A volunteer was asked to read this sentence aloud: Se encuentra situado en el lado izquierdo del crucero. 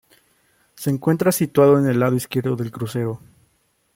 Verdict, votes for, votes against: accepted, 2, 0